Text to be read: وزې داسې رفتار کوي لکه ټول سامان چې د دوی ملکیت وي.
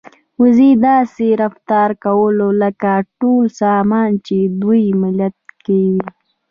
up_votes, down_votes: 1, 2